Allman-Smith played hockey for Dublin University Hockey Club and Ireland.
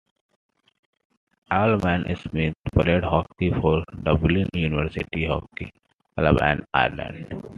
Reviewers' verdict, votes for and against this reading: rejected, 0, 2